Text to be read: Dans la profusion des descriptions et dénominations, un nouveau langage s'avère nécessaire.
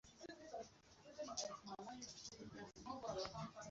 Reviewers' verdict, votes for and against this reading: rejected, 0, 2